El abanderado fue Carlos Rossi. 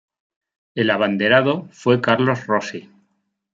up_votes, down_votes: 2, 0